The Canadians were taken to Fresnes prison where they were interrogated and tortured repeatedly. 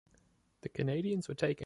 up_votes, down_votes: 0, 2